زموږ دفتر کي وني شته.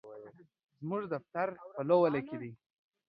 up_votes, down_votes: 1, 2